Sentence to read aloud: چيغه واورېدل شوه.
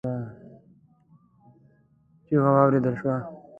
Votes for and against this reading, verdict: 1, 2, rejected